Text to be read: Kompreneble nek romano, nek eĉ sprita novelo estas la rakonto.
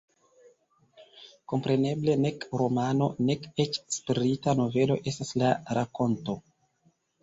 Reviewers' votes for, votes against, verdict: 2, 1, accepted